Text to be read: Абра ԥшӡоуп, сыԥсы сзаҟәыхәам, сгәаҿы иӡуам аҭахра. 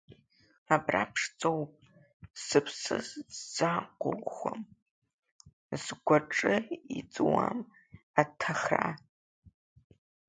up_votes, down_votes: 1, 3